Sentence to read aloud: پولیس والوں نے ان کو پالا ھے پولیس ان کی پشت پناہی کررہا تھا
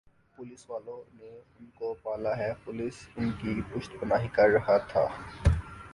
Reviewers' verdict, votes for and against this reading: rejected, 3, 5